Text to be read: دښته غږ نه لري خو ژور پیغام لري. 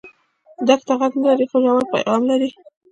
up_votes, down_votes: 0, 2